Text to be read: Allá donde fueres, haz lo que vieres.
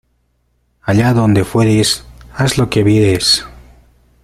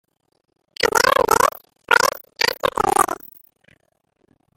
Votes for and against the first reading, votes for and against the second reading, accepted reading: 2, 0, 0, 3, first